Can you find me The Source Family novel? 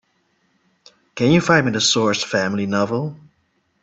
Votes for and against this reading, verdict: 2, 0, accepted